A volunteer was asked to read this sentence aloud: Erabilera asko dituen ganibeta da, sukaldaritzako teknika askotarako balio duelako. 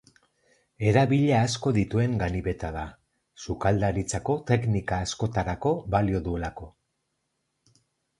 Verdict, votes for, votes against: rejected, 0, 4